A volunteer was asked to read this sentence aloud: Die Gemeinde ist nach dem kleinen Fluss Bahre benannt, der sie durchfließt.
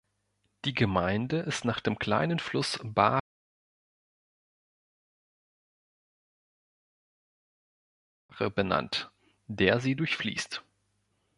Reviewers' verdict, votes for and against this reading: rejected, 0, 2